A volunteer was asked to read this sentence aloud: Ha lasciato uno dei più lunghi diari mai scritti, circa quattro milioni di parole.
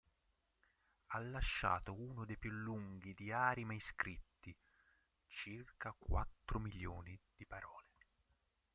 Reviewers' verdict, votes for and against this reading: rejected, 0, 2